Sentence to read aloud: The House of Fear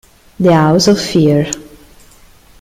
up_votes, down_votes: 2, 1